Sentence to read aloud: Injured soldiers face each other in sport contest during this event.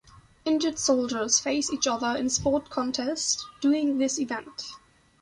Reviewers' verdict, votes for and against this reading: accepted, 2, 0